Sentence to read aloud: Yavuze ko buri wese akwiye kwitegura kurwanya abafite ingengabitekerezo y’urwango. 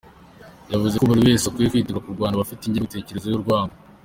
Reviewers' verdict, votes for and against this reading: accepted, 2, 0